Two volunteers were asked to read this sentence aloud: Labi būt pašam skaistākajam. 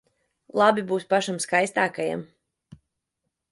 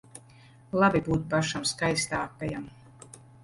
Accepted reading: second